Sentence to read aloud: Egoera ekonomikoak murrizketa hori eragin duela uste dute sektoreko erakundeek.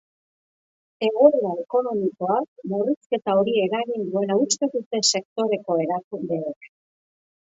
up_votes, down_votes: 2, 0